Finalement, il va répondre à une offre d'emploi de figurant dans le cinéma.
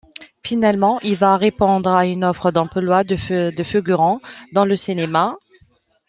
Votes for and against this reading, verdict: 1, 2, rejected